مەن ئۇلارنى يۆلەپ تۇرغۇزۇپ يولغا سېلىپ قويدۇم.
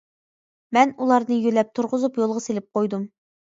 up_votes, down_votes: 2, 0